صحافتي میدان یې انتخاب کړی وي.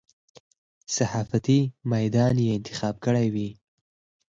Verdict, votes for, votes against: rejected, 2, 4